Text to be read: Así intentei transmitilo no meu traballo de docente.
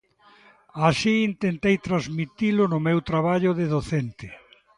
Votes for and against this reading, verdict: 1, 2, rejected